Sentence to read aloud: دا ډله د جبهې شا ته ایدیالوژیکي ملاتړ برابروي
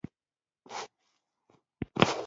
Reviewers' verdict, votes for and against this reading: accepted, 2, 0